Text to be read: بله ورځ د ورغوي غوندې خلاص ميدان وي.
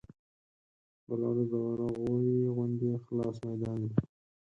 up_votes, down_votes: 4, 2